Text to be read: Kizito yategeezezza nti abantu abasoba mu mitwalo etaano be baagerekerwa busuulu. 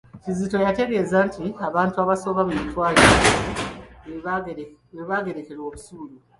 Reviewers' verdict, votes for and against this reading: rejected, 0, 2